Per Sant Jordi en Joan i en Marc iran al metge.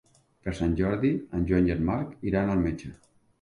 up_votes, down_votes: 3, 0